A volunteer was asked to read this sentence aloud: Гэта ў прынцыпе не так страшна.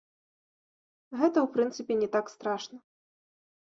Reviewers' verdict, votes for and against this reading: accepted, 2, 0